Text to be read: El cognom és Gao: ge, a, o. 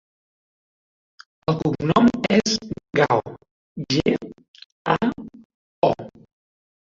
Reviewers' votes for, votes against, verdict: 0, 2, rejected